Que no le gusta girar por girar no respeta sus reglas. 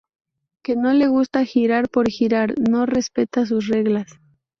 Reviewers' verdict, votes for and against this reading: accepted, 2, 0